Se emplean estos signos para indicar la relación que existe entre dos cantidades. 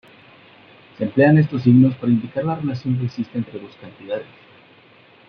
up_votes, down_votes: 0, 2